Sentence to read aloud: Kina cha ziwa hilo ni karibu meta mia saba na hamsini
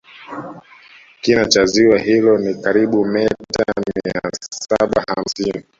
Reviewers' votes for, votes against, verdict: 0, 2, rejected